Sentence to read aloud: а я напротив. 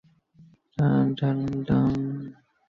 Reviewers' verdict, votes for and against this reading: rejected, 0, 2